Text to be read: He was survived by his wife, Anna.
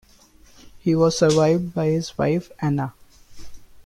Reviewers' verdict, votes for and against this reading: rejected, 1, 2